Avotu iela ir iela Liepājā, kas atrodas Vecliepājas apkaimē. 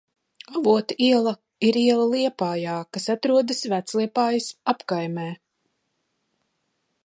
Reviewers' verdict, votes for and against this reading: accepted, 2, 1